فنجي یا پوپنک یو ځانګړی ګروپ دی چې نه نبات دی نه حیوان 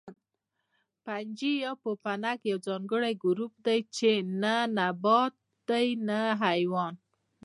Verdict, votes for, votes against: accepted, 2, 0